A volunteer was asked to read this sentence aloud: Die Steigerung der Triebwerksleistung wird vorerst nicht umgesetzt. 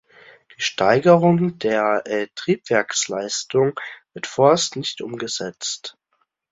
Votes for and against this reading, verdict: 0, 2, rejected